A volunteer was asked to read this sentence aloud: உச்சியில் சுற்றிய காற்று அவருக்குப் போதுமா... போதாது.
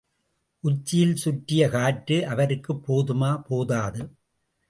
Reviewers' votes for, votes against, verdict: 2, 0, accepted